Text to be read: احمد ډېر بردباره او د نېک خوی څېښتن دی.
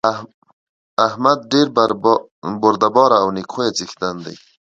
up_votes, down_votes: 1, 2